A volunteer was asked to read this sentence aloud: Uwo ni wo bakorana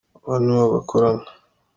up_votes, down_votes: 2, 0